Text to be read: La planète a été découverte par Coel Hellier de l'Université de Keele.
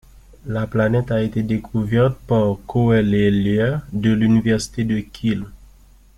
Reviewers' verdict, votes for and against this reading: rejected, 1, 2